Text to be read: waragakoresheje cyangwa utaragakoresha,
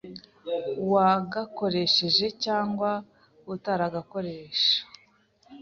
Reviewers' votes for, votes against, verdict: 0, 2, rejected